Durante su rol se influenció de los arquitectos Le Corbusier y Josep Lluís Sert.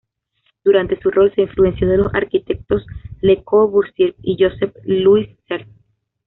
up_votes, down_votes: 2, 0